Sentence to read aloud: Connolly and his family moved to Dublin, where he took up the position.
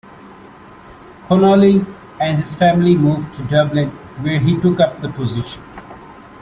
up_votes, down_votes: 2, 0